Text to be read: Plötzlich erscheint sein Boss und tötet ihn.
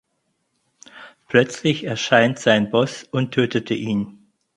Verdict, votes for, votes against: rejected, 0, 4